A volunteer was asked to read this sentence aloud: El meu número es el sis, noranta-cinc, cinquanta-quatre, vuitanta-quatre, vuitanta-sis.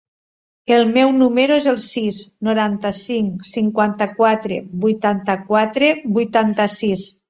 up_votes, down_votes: 3, 0